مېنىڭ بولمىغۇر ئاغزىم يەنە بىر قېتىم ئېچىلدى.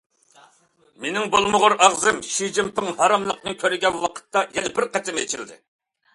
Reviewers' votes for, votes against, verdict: 0, 2, rejected